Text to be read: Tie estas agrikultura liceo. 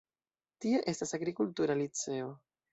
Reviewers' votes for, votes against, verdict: 0, 2, rejected